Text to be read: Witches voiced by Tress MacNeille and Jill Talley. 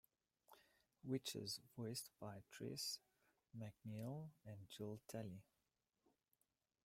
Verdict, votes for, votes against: accepted, 2, 0